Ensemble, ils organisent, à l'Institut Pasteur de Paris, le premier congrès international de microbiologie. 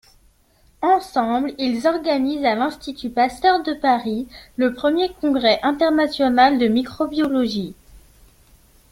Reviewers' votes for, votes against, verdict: 2, 0, accepted